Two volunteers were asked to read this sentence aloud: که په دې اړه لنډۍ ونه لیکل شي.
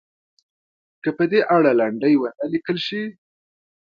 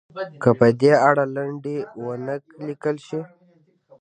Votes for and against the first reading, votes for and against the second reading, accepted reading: 2, 0, 1, 2, first